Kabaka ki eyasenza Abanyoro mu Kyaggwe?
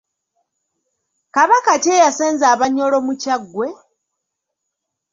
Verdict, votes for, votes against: accepted, 2, 0